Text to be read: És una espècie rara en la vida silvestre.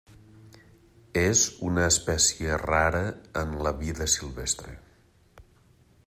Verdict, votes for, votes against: accepted, 3, 0